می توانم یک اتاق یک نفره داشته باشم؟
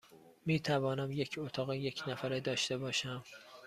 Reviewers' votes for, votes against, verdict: 2, 0, accepted